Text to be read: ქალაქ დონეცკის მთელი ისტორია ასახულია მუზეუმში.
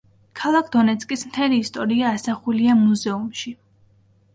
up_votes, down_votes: 3, 0